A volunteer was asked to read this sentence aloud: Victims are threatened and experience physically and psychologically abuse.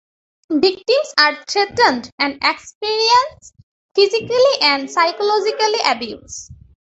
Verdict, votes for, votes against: rejected, 0, 3